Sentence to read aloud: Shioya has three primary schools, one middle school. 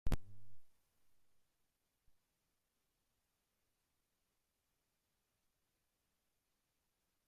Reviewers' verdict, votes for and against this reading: rejected, 0, 2